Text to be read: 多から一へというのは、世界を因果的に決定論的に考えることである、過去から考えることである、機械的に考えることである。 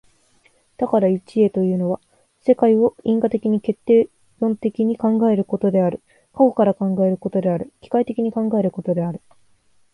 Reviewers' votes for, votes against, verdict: 2, 0, accepted